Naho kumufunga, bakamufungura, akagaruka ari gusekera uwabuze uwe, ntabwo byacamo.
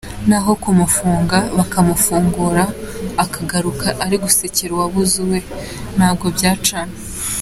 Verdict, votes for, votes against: accepted, 2, 0